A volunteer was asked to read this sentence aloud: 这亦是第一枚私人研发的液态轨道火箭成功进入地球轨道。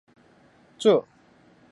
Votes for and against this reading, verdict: 1, 2, rejected